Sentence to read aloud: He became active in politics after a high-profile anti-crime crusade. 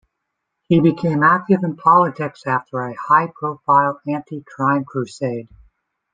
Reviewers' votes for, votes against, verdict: 2, 0, accepted